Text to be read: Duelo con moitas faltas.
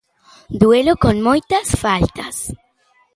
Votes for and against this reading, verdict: 2, 0, accepted